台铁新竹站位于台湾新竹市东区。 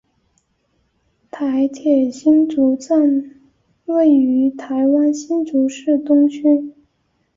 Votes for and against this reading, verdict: 3, 0, accepted